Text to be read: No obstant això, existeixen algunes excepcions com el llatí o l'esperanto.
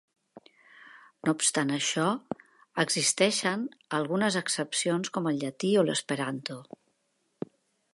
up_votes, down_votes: 2, 0